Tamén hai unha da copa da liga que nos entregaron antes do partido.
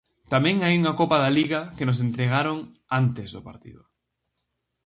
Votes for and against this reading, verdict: 2, 2, rejected